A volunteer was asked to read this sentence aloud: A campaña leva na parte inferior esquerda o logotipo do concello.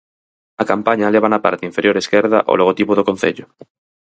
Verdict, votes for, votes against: accepted, 4, 0